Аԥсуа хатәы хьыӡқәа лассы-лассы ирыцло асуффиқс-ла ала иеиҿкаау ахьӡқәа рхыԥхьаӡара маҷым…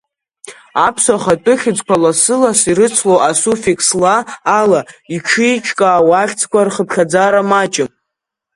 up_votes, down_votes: 1, 4